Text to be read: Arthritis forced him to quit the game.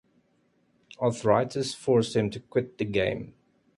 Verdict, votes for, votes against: accepted, 2, 0